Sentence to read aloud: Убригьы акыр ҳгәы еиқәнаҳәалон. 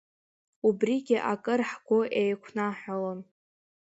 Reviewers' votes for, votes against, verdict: 1, 3, rejected